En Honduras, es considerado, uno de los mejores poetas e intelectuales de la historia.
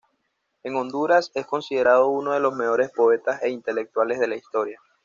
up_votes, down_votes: 0, 2